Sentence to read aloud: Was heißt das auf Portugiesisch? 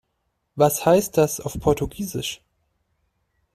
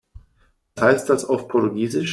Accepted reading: first